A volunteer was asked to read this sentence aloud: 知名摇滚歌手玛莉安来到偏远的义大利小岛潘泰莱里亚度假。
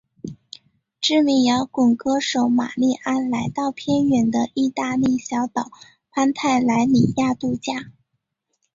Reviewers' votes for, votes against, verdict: 2, 1, accepted